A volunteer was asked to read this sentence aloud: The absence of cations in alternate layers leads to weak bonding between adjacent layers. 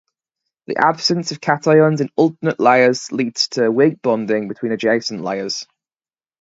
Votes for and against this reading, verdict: 2, 0, accepted